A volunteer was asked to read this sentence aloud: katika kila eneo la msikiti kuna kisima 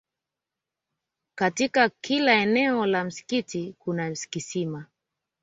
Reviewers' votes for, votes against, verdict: 1, 2, rejected